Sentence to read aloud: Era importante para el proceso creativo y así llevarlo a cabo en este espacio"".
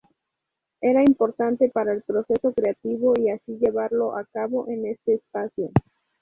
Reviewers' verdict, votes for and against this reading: rejected, 0, 2